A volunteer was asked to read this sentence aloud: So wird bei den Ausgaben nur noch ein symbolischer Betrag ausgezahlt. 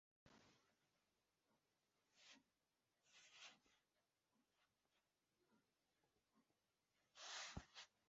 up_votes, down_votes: 0, 2